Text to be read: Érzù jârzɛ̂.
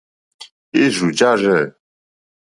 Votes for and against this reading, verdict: 3, 0, accepted